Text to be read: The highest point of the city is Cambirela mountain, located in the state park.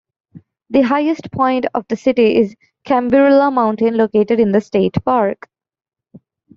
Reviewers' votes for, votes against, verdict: 2, 0, accepted